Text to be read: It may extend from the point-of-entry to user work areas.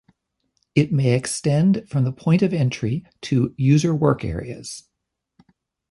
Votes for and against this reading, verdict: 2, 0, accepted